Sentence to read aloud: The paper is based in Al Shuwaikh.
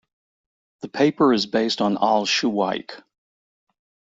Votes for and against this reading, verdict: 0, 2, rejected